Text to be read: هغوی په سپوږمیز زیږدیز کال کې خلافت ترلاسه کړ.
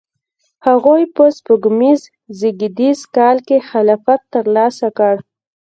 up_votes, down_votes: 2, 0